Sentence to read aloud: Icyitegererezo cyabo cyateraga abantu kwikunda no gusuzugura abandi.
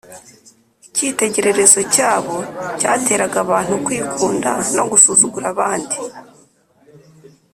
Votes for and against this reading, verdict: 3, 0, accepted